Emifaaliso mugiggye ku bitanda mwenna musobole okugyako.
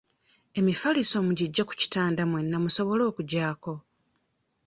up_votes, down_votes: 1, 2